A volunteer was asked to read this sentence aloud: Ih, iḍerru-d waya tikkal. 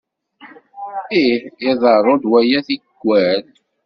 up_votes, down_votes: 2, 0